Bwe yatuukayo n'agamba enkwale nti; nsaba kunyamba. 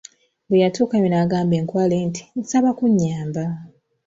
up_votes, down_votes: 2, 0